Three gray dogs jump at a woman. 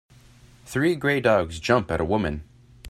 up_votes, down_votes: 2, 0